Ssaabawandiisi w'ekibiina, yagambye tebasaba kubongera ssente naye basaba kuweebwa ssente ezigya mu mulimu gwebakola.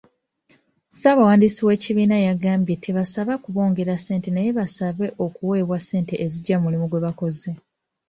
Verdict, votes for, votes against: rejected, 0, 2